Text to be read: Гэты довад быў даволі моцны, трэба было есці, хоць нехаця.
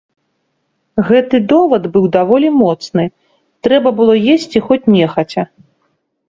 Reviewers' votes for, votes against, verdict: 2, 0, accepted